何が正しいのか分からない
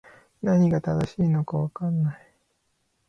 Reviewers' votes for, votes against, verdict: 3, 0, accepted